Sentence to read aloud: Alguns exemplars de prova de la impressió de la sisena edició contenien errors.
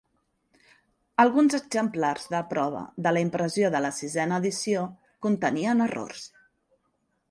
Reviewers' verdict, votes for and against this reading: accepted, 4, 0